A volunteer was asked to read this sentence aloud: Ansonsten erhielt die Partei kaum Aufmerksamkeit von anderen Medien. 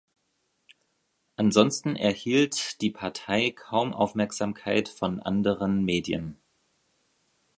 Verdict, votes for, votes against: accepted, 2, 0